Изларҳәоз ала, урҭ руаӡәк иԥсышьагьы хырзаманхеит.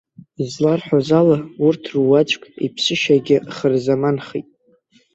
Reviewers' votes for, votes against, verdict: 2, 0, accepted